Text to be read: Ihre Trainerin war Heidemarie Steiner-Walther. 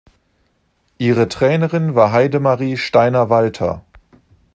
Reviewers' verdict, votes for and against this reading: accepted, 2, 0